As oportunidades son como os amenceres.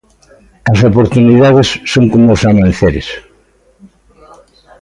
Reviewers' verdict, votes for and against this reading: rejected, 1, 2